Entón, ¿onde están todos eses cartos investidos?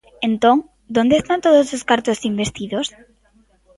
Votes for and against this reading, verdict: 1, 2, rejected